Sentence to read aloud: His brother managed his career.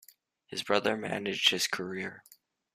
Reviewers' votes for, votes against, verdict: 2, 0, accepted